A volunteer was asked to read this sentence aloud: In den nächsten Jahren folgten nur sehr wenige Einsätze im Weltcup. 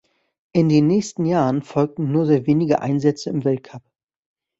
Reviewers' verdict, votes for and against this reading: accepted, 2, 1